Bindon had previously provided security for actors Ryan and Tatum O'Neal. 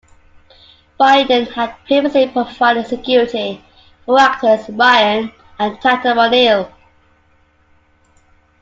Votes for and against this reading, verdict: 2, 0, accepted